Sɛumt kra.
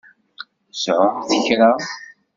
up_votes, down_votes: 2, 1